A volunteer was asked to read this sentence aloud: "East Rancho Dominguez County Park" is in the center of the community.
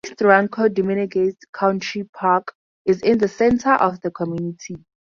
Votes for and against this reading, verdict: 0, 2, rejected